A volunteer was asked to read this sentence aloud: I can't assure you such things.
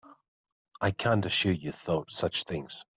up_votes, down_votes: 2, 5